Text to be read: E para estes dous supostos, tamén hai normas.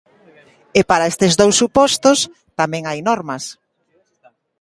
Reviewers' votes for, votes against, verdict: 2, 0, accepted